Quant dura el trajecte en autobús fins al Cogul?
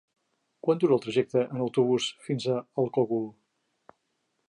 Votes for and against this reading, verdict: 1, 2, rejected